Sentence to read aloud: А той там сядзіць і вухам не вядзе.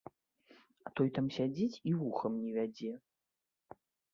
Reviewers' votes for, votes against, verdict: 2, 1, accepted